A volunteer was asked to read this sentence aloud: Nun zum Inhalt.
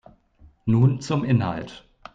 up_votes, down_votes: 2, 0